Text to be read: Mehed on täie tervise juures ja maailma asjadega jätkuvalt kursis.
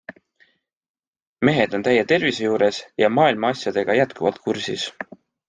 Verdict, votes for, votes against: accepted, 2, 0